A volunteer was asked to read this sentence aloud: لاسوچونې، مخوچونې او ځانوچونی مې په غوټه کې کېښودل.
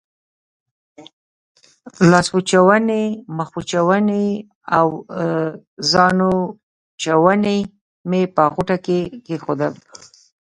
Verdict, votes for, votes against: rejected, 0, 2